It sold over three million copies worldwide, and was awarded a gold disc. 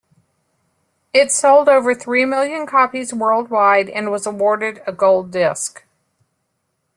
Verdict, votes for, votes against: accepted, 2, 0